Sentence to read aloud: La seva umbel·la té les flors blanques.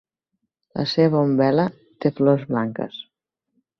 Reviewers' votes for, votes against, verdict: 0, 2, rejected